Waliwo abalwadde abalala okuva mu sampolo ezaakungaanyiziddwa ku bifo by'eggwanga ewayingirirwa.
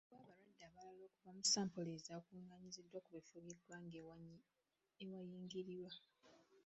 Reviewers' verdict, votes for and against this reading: rejected, 0, 2